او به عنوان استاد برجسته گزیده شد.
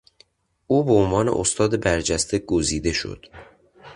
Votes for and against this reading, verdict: 2, 0, accepted